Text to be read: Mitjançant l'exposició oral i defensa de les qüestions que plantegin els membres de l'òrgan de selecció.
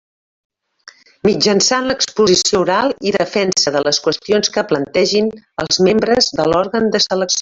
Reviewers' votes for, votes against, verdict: 0, 2, rejected